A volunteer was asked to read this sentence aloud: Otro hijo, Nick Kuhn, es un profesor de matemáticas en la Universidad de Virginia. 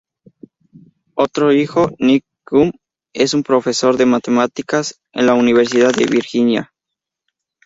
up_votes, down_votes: 0, 2